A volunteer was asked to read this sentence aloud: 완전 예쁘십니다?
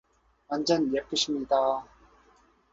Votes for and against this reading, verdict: 2, 0, accepted